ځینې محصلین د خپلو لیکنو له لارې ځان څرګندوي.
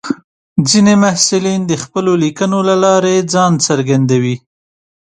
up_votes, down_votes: 2, 0